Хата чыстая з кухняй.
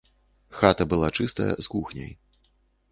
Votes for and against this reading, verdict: 0, 2, rejected